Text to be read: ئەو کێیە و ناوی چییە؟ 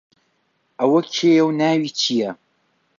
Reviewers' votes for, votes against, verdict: 0, 2, rejected